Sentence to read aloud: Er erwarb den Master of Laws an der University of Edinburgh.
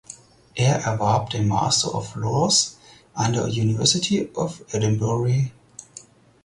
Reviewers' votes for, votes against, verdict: 2, 4, rejected